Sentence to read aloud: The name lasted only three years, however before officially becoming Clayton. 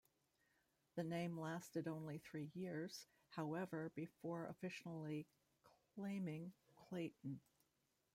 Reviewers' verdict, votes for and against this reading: rejected, 0, 2